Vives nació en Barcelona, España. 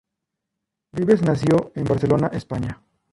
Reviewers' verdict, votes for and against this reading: rejected, 0, 2